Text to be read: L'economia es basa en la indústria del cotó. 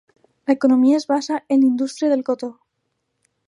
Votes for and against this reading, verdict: 0, 2, rejected